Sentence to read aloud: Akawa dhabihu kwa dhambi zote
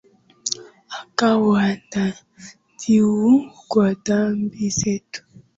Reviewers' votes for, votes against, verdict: 0, 4, rejected